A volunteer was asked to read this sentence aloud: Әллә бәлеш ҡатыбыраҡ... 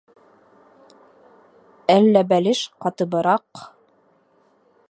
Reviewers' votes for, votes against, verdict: 2, 0, accepted